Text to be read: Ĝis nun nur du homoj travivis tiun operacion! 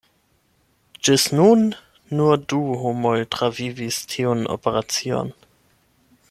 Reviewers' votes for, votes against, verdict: 8, 0, accepted